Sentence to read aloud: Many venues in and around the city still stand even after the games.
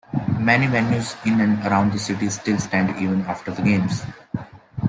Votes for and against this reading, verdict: 2, 0, accepted